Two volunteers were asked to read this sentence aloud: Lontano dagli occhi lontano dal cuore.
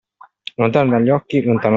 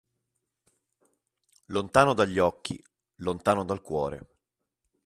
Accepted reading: second